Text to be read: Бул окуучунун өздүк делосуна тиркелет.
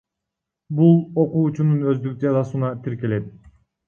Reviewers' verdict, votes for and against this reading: rejected, 1, 2